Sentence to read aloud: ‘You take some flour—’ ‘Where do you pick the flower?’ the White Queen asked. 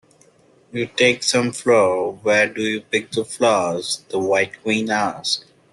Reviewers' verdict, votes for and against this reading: rejected, 1, 2